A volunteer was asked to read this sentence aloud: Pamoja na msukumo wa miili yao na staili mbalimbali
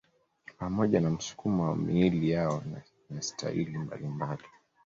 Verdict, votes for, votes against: accepted, 2, 0